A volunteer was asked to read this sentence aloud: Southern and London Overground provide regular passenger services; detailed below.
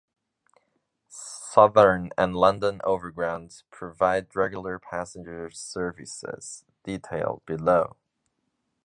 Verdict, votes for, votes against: rejected, 0, 2